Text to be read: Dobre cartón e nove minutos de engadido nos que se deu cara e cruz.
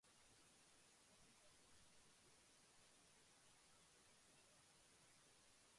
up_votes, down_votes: 0, 2